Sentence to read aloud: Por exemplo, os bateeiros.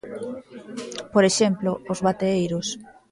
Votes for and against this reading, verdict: 2, 0, accepted